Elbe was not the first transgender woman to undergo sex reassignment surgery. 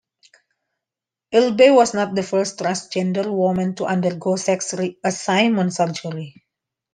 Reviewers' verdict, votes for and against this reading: accepted, 2, 0